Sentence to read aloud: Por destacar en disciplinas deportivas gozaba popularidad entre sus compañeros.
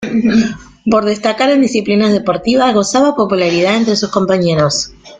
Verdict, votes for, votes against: accepted, 2, 0